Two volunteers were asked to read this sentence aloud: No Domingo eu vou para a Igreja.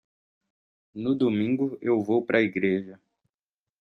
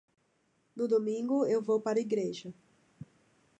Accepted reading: second